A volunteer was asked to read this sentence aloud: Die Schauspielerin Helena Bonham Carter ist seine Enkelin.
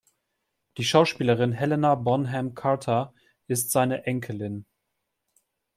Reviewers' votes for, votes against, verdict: 2, 0, accepted